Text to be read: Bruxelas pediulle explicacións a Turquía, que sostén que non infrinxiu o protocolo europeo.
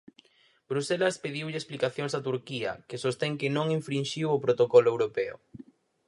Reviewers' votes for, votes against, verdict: 6, 0, accepted